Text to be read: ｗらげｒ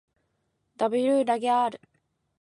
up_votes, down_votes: 2, 0